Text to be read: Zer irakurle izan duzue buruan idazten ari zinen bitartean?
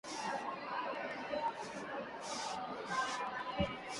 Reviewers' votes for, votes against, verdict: 0, 2, rejected